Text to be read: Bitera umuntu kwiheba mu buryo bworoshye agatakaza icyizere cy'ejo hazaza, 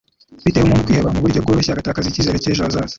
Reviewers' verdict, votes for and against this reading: rejected, 1, 2